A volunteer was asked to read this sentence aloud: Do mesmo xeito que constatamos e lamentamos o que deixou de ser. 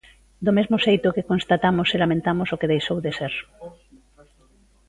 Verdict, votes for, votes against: rejected, 0, 2